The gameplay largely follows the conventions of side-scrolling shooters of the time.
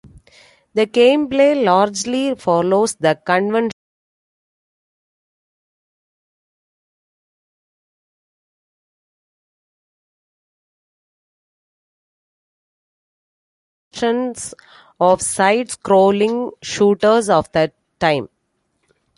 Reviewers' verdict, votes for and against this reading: rejected, 0, 2